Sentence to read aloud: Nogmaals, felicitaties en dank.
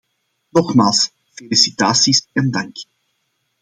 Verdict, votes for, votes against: accepted, 2, 0